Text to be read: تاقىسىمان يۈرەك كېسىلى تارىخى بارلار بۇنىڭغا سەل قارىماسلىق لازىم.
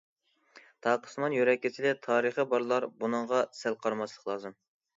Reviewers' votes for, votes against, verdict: 2, 0, accepted